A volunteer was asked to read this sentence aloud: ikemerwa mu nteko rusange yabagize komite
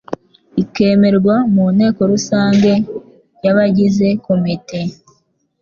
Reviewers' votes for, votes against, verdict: 2, 0, accepted